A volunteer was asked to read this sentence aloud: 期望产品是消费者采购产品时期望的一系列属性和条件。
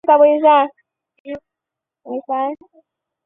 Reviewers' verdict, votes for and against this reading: rejected, 0, 6